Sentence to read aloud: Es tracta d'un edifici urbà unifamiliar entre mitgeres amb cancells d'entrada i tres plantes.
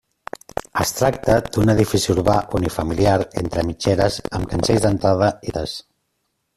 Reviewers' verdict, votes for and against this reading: rejected, 0, 2